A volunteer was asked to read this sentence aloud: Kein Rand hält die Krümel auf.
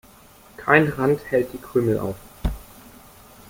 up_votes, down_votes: 2, 0